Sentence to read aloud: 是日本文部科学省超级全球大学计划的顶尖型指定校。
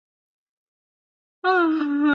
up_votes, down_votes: 3, 6